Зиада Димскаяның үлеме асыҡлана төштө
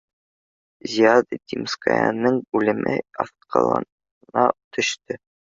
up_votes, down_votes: 0, 2